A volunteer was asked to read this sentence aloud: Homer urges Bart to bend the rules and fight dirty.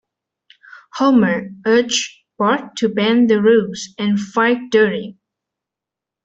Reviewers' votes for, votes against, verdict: 1, 2, rejected